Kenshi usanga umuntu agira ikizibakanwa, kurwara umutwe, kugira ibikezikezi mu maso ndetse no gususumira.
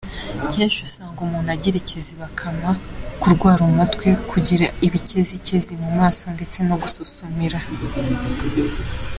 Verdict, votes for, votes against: accepted, 2, 1